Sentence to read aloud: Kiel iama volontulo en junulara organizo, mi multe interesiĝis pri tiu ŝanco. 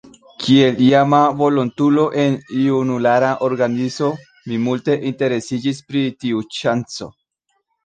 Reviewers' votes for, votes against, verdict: 1, 3, rejected